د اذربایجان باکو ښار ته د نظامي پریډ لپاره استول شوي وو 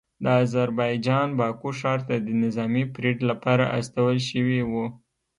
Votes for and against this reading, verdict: 2, 0, accepted